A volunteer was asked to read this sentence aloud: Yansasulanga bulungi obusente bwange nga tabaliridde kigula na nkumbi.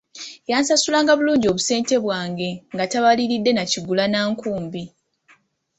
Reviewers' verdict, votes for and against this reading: accepted, 2, 0